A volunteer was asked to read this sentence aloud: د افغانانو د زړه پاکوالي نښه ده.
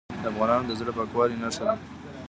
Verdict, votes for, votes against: rejected, 0, 2